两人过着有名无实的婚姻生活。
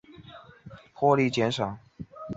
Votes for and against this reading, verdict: 0, 2, rejected